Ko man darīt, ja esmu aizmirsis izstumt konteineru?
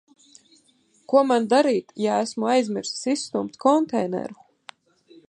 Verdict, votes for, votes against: accepted, 2, 0